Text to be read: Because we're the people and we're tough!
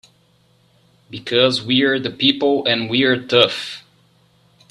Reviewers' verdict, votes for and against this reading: accepted, 2, 0